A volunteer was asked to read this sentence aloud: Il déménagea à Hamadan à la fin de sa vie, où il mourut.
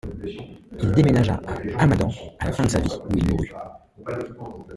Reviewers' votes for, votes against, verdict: 1, 2, rejected